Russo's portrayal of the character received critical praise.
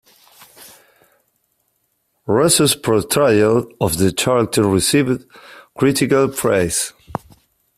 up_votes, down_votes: 1, 2